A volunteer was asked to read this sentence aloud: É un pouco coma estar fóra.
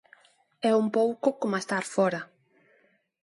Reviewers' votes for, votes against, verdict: 2, 0, accepted